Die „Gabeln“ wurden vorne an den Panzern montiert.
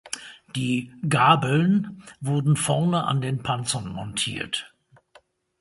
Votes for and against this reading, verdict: 2, 0, accepted